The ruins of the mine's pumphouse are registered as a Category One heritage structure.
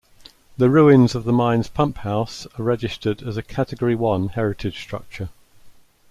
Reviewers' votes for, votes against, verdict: 2, 0, accepted